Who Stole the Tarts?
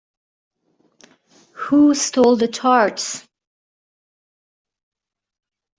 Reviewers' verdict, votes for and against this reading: accepted, 2, 0